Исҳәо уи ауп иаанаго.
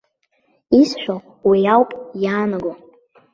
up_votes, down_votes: 2, 0